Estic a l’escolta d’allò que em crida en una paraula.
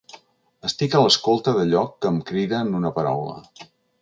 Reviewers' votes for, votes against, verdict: 3, 0, accepted